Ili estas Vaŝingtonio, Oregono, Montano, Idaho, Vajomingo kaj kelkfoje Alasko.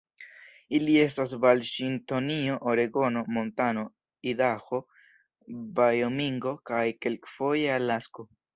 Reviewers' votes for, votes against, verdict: 1, 2, rejected